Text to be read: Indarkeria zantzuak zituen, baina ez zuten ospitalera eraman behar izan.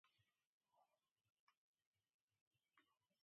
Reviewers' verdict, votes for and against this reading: rejected, 0, 5